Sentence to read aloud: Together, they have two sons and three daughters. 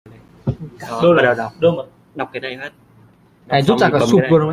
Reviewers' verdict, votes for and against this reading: rejected, 0, 2